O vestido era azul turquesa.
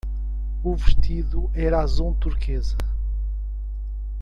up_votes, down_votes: 2, 0